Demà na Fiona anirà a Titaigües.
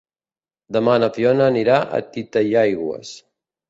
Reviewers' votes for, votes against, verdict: 2, 0, accepted